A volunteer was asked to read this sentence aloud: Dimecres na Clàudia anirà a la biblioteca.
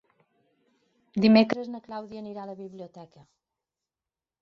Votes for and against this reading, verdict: 2, 3, rejected